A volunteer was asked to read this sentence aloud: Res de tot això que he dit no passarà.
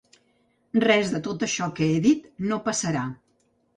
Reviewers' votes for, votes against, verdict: 3, 0, accepted